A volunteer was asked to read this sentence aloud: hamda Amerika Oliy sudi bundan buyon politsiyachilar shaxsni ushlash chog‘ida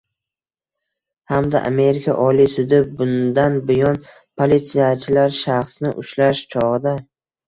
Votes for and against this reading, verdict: 1, 2, rejected